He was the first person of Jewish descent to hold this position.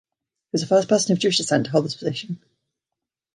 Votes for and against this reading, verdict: 2, 0, accepted